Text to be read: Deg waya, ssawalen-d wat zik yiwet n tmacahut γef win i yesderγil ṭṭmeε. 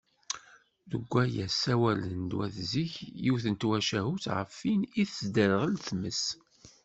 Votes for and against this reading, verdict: 1, 2, rejected